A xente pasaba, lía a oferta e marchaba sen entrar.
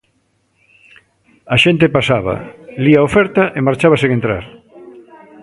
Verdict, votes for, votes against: rejected, 1, 2